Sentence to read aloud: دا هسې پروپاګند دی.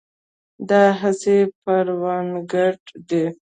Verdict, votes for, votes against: rejected, 0, 2